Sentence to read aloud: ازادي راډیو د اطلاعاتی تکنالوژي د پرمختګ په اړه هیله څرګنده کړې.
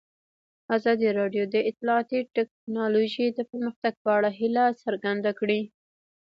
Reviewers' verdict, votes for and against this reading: rejected, 1, 2